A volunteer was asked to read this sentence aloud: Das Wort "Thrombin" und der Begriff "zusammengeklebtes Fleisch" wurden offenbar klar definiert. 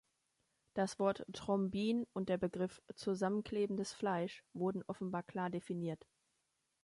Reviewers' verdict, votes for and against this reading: rejected, 0, 2